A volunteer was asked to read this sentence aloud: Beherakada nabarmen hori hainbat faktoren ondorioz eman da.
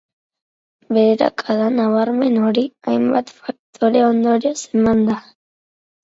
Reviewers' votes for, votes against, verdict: 0, 2, rejected